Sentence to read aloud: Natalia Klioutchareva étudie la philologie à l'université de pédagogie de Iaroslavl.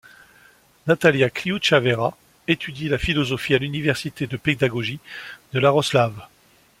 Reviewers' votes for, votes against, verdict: 0, 2, rejected